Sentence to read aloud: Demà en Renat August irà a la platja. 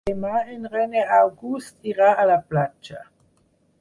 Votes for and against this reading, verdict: 2, 4, rejected